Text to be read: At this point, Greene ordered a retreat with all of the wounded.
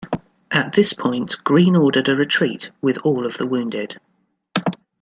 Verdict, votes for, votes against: accepted, 2, 0